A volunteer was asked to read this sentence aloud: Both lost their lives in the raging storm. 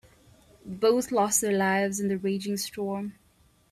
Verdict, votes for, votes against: accepted, 2, 0